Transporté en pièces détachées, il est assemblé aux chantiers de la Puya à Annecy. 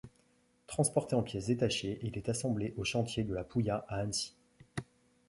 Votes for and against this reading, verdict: 2, 0, accepted